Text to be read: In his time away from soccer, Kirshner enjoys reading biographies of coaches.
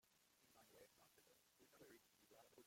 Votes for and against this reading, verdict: 0, 2, rejected